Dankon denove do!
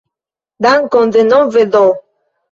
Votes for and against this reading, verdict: 2, 0, accepted